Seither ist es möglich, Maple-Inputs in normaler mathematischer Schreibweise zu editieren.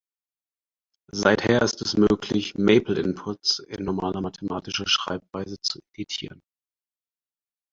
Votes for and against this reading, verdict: 2, 4, rejected